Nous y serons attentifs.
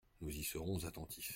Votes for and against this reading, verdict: 2, 0, accepted